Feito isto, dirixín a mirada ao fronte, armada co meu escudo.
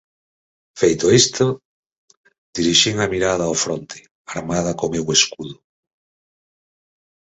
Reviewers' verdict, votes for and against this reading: accepted, 4, 0